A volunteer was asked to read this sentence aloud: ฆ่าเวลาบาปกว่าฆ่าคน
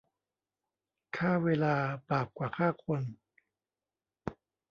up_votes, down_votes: 2, 0